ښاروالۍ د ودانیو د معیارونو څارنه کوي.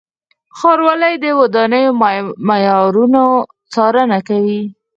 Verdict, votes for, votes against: rejected, 2, 4